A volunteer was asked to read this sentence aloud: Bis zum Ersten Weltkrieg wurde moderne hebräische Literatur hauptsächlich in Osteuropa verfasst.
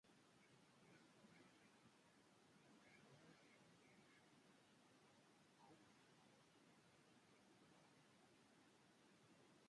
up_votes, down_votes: 0, 2